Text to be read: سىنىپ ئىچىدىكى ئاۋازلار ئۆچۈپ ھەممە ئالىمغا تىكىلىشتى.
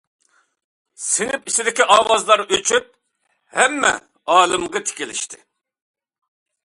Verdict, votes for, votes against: accepted, 2, 0